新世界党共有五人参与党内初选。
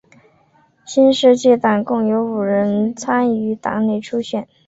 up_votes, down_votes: 2, 0